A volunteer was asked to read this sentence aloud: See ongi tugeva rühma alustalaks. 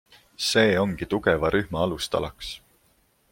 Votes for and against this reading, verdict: 2, 1, accepted